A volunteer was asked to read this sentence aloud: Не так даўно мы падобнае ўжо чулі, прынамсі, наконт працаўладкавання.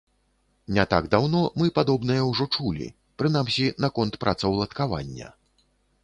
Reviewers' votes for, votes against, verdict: 2, 0, accepted